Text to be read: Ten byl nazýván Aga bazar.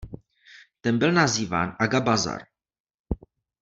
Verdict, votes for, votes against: accepted, 2, 0